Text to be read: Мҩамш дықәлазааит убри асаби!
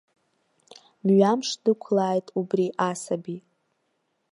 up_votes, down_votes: 0, 2